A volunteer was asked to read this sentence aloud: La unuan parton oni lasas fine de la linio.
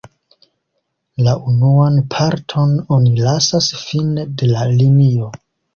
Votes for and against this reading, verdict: 2, 1, accepted